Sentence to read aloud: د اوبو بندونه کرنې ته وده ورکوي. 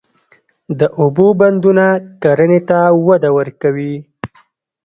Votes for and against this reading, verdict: 2, 0, accepted